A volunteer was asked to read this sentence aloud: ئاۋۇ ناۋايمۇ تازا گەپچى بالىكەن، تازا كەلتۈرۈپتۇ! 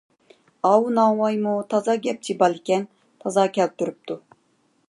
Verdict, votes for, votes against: accepted, 2, 0